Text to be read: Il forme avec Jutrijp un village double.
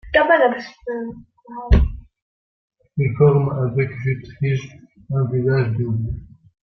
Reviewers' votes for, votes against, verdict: 0, 2, rejected